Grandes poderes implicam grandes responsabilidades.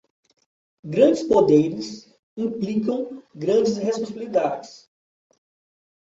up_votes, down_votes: 1, 2